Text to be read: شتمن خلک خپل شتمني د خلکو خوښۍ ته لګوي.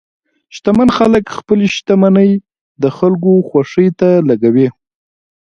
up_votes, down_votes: 0, 2